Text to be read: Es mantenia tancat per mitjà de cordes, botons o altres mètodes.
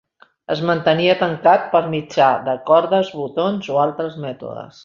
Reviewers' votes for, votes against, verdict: 2, 0, accepted